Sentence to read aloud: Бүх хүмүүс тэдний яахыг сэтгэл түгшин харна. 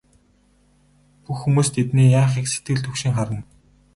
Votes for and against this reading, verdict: 2, 2, rejected